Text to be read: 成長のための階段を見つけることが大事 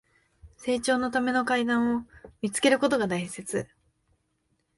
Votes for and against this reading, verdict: 0, 2, rejected